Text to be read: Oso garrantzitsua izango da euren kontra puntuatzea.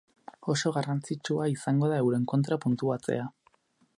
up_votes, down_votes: 4, 0